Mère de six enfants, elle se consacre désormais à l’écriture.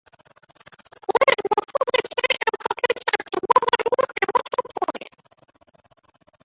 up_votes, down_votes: 1, 2